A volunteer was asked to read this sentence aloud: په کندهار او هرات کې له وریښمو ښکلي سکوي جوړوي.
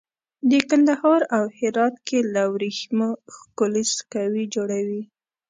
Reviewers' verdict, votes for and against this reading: rejected, 1, 2